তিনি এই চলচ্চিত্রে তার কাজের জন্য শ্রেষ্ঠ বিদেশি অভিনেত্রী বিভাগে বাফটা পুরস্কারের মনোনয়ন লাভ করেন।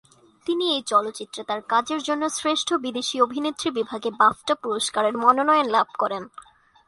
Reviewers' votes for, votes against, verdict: 2, 0, accepted